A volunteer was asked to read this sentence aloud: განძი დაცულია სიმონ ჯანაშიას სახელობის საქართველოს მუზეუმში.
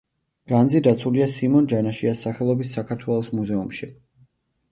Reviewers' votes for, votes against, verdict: 2, 0, accepted